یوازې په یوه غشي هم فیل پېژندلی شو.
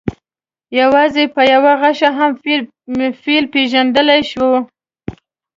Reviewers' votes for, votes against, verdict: 1, 2, rejected